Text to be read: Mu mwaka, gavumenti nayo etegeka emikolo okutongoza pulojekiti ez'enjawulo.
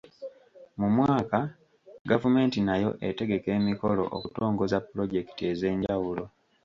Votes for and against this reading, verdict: 2, 1, accepted